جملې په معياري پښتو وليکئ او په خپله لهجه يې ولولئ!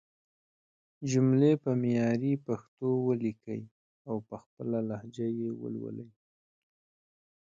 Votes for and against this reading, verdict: 2, 1, accepted